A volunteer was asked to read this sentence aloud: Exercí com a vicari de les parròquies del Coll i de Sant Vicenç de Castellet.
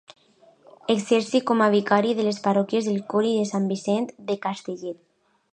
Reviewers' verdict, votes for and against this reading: accepted, 2, 0